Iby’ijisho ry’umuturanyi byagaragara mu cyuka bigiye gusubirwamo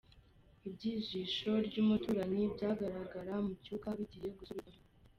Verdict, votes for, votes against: rejected, 0, 2